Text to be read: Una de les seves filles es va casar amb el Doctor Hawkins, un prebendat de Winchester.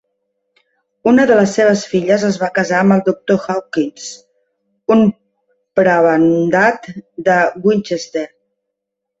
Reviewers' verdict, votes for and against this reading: rejected, 1, 3